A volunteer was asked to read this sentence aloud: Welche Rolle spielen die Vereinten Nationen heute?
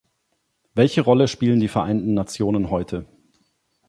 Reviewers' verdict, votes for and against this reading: accepted, 2, 0